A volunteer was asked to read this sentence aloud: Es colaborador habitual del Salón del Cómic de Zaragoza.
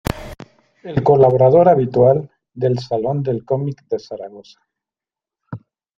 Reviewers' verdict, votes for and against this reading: rejected, 0, 2